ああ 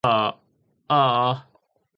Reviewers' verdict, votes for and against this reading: accepted, 2, 0